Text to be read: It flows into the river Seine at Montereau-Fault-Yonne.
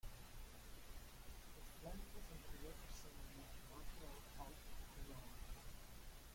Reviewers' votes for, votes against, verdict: 0, 2, rejected